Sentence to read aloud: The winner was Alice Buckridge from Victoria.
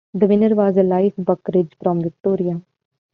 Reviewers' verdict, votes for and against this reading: rejected, 1, 2